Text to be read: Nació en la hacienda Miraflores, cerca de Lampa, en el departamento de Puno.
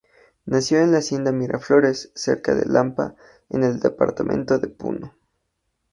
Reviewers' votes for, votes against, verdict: 4, 0, accepted